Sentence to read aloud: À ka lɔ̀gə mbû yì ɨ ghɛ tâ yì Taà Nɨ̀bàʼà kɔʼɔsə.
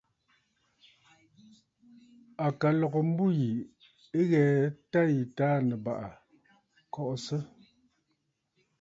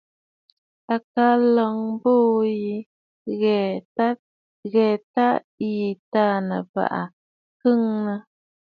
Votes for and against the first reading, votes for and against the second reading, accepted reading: 2, 0, 1, 2, first